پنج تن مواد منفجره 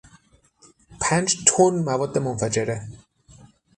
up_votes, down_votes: 6, 0